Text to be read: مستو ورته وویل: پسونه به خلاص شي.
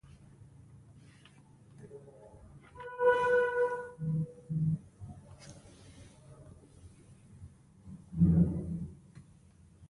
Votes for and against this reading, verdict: 0, 2, rejected